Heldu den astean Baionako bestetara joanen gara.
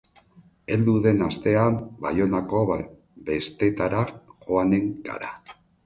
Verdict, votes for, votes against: accepted, 2, 0